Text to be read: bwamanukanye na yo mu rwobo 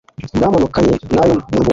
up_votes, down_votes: 0, 2